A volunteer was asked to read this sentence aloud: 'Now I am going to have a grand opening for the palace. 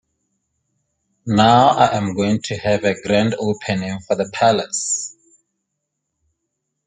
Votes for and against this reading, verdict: 2, 0, accepted